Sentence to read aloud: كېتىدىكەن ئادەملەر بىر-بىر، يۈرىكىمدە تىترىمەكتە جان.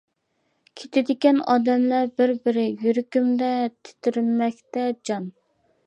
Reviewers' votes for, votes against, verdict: 1, 2, rejected